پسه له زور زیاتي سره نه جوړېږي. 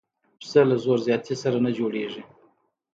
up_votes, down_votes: 2, 0